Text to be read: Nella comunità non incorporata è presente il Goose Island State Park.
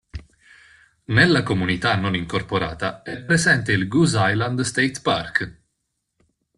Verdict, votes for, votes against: accepted, 2, 0